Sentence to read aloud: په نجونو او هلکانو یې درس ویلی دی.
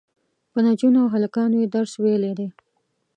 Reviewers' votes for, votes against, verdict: 2, 0, accepted